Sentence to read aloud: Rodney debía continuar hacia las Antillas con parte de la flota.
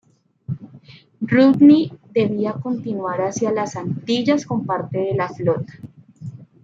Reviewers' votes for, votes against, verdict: 1, 2, rejected